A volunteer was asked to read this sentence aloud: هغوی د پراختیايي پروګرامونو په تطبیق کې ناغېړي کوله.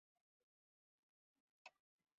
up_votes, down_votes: 1, 2